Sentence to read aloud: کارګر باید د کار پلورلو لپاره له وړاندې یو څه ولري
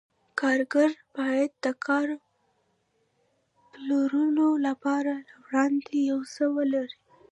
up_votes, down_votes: 2, 0